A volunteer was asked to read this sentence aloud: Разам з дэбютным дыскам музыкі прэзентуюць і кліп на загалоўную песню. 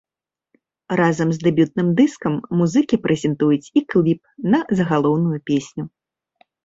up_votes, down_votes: 1, 2